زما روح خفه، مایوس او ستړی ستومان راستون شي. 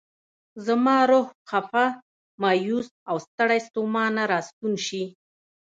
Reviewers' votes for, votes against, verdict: 1, 2, rejected